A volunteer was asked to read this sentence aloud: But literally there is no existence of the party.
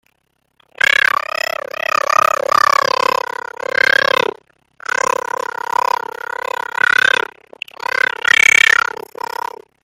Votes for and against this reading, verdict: 0, 2, rejected